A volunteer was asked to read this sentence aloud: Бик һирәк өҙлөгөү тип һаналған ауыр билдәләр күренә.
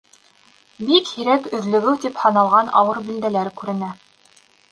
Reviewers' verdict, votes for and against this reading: accepted, 2, 0